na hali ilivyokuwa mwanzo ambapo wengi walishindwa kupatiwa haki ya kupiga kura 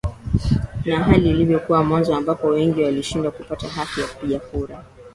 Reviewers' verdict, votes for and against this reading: rejected, 0, 2